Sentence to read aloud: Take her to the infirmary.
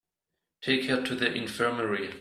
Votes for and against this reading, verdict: 2, 0, accepted